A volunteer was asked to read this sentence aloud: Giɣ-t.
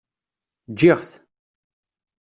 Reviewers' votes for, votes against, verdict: 1, 2, rejected